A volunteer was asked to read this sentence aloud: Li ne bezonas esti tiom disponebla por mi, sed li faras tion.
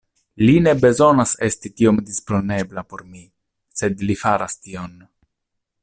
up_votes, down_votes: 2, 0